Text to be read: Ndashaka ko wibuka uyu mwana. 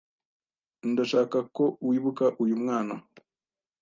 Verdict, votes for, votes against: accepted, 2, 1